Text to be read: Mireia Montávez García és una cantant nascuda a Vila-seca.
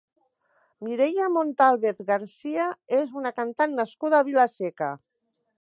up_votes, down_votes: 2, 0